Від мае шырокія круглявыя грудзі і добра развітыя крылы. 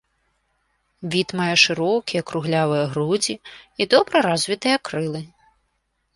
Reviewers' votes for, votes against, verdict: 2, 0, accepted